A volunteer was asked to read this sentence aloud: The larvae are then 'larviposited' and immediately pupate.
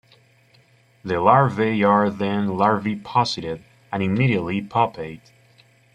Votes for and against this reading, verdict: 1, 2, rejected